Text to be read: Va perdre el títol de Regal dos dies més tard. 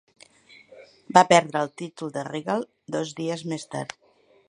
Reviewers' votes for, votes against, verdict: 3, 0, accepted